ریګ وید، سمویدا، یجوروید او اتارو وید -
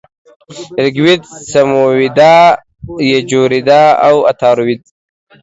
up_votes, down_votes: 2, 0